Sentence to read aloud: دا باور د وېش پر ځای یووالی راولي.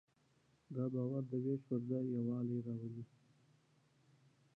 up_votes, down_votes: 1, 2